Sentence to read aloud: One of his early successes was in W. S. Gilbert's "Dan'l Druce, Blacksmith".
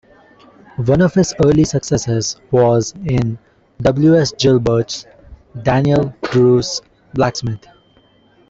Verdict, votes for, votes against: accepted, 2, 0